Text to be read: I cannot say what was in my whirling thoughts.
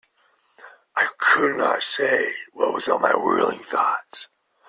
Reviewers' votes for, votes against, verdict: 1, 2, rejected